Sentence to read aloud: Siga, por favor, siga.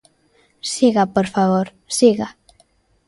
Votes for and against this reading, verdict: 2, 0, accepted